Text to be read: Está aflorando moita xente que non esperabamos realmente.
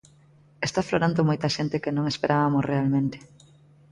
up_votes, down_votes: 0, 2